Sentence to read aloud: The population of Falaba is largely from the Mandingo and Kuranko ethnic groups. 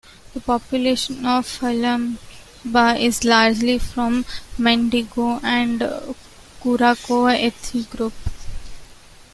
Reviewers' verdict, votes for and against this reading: rejected, 1, 2